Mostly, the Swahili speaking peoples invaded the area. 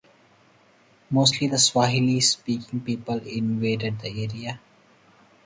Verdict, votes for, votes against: accepted, 4, 0